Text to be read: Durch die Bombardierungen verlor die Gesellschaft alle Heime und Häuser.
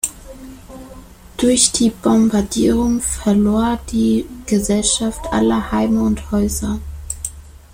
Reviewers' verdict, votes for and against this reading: rejected, 0, 2